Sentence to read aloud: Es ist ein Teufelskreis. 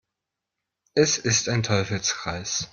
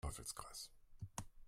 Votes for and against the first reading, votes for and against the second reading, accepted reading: 2, 0, 0, 2, first